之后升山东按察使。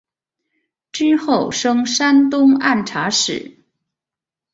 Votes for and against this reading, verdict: 2, 1, accepted